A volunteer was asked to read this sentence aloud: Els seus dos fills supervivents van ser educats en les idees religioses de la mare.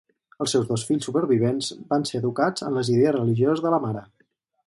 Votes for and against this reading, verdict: 0, 4, rejected